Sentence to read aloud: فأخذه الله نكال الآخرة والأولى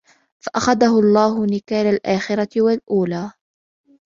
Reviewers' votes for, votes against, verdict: 2, 0, accepted